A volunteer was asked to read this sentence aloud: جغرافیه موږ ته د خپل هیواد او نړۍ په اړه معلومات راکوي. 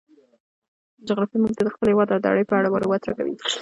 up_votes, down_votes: 1, 2